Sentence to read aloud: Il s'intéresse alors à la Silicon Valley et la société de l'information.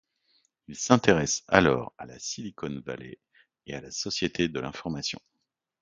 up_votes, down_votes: 1, 2